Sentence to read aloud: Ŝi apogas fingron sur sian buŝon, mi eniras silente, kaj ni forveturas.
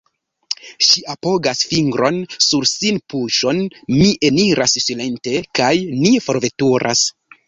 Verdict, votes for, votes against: rejected, 0, 2